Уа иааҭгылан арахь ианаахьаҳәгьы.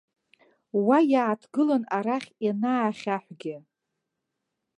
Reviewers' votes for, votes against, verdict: 2, 0, accepted